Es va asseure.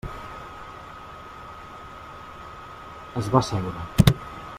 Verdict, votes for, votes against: rejected, 1, 3